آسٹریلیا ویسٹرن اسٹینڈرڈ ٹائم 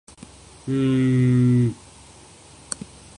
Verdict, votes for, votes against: rejected, 0, 2